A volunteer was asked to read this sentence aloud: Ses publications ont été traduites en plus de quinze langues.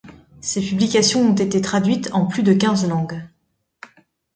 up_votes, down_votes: 2, 1